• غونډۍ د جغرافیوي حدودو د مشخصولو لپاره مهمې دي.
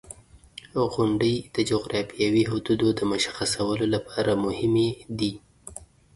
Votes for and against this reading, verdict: 2, 0, accepted